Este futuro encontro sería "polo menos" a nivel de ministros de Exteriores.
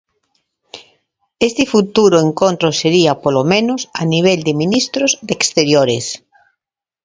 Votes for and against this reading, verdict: 2, 0, accepted